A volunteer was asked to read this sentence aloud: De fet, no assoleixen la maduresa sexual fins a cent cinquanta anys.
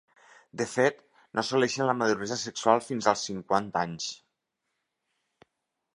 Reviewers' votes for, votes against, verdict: 0, 2, rejected